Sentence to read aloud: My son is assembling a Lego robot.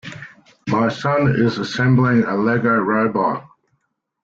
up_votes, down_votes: 2, 0